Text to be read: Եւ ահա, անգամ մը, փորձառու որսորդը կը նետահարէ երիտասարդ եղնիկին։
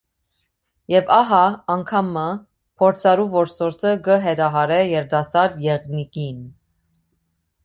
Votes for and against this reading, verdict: 0, 2, rejected